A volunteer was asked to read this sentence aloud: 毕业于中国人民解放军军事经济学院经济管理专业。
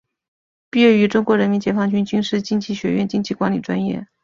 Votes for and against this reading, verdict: 2, 0, accepted